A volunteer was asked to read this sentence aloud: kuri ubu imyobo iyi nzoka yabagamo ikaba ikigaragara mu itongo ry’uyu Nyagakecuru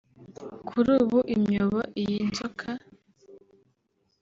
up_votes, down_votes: 0, 3